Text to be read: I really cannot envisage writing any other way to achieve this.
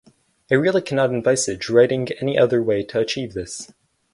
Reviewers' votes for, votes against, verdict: 2, 2, rejected